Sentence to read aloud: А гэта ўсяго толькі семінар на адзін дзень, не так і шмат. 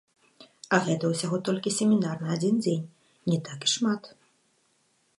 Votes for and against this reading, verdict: 1, 2, rejected